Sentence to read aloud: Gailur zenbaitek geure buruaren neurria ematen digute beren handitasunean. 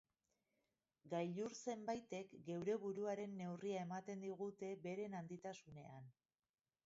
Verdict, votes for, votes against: accepted, 4, 2